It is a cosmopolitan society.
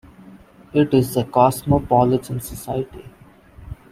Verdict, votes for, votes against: accepted, 2, 1